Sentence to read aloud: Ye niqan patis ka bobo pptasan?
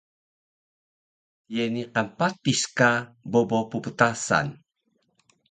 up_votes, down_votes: 2, 0